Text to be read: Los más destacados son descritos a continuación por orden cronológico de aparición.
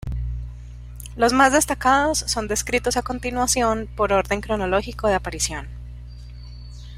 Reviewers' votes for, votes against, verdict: 1, 2, rejected